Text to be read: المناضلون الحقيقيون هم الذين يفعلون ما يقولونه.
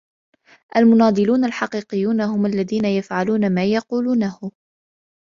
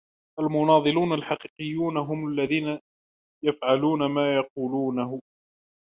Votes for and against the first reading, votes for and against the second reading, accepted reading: 2, 0, 1, 2, first